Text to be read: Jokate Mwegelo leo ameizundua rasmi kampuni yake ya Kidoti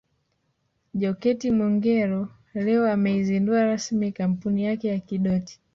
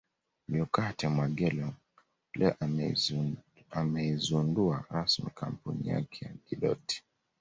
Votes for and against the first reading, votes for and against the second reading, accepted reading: 1, 2, 2, 1, second